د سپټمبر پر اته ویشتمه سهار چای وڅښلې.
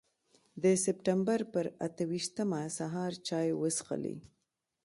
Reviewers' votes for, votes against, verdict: 1, 2, rejected